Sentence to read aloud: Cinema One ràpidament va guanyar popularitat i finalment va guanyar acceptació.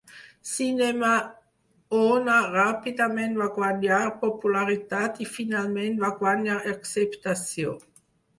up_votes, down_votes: 2, 4